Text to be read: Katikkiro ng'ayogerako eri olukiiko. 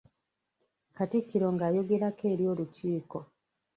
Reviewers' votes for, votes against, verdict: 1, 2, rejected